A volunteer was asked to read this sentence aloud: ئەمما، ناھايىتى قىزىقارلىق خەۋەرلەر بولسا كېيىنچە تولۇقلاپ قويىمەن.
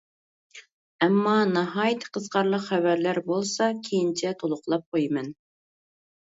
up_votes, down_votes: 3, 0